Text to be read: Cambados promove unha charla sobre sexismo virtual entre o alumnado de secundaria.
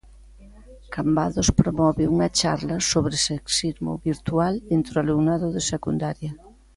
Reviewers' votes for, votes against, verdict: 2, 0, accepted